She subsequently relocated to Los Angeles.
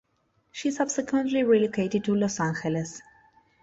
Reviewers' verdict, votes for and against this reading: rejected, 1, 2